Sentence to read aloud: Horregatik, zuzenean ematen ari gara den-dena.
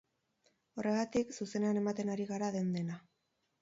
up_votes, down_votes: 4, 2